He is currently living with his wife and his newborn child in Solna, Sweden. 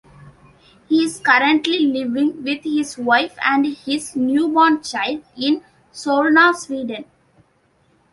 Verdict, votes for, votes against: accepted, 2, 0